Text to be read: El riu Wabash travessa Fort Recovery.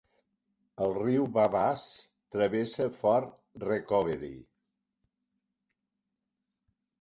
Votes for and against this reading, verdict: 1, 2, rejected